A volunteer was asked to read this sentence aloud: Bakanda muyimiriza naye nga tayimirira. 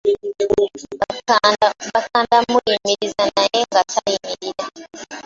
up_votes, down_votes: 0, 2